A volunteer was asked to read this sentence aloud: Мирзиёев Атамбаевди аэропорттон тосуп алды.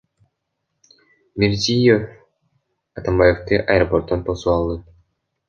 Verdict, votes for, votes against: rejected, 1, 2